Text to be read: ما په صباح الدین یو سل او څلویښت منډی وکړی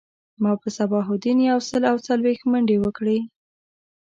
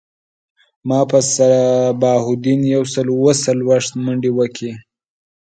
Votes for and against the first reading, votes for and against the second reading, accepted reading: 1, 2, 3, 0, second